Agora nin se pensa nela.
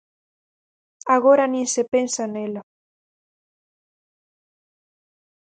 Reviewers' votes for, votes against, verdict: 4, 0, accepted